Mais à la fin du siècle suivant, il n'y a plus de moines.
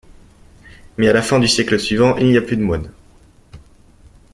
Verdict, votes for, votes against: rejected, 0, 2